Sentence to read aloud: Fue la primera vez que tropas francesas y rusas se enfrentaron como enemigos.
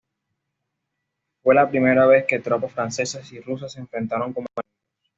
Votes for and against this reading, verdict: 1, 2, rejected